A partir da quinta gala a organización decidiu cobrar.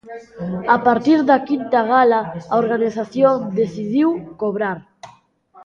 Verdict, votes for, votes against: accepted, 2, 0